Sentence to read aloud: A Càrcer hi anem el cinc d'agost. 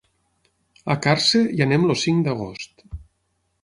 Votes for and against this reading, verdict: 3, 6, rejected